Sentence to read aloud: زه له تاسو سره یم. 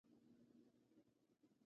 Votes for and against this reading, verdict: 0, 2, rejected